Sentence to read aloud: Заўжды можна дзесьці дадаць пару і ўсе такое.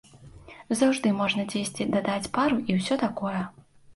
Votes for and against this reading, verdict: 2, 0, accepted